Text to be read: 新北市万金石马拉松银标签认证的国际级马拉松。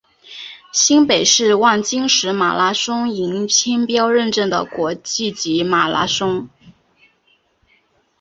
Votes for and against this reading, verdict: 3, 1, accepted